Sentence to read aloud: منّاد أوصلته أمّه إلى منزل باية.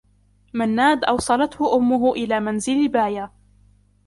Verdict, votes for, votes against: accepted, 2, 1